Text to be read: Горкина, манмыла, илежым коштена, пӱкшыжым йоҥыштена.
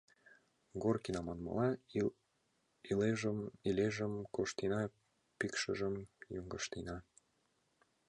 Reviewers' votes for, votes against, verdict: 1, 2, rejected